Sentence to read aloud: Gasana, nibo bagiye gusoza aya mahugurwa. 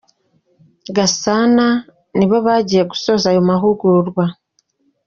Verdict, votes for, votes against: accepted, 2, 1